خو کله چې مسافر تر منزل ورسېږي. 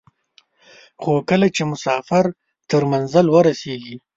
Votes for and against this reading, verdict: 2, 0, accepted